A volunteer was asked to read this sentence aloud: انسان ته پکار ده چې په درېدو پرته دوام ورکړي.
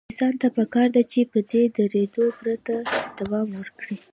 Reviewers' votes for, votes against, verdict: 2, 0, accepted